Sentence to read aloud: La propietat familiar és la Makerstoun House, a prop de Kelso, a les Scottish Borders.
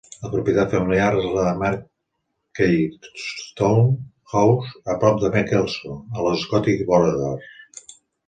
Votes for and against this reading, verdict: 0, 2, rejected